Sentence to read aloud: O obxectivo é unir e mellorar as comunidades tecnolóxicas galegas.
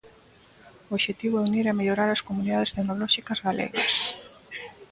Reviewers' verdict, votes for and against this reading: accepted, 2, 0